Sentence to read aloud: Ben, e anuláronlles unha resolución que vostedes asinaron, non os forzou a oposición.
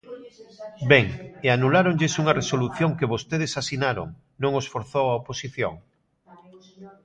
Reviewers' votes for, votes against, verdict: 1, 2, rejected